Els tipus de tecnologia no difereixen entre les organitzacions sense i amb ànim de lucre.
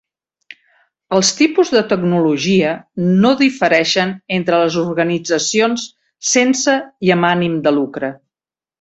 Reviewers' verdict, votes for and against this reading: accepted, 3, 0